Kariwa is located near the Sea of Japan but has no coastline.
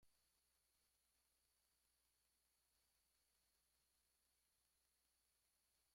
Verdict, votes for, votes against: rejected, 0, 2